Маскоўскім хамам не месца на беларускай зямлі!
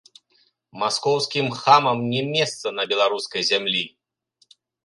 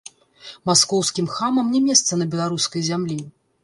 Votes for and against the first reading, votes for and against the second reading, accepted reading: 2, 0, 1, 2, first